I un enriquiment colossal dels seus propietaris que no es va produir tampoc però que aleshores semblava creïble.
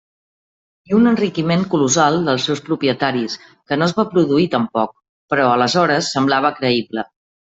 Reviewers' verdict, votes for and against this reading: rejected, 1, 2